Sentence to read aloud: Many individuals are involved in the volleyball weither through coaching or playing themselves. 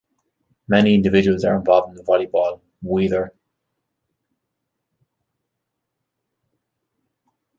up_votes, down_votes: 1, 2